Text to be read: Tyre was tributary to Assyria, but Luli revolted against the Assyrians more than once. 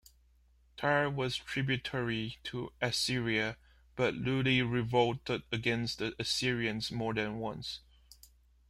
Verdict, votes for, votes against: rejected, 1, 2